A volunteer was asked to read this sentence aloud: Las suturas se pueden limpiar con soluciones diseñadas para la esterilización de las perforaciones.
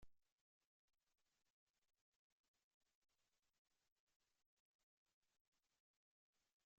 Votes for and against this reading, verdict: 0, 2, rejected